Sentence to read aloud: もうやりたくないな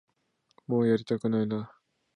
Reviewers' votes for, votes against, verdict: 2, 0, accepted